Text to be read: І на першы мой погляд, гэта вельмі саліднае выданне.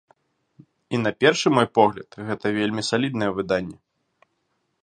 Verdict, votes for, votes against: accepted, 2, 0